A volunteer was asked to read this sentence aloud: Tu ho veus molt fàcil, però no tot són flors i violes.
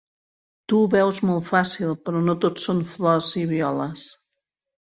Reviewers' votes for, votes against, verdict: 4, 0, accepted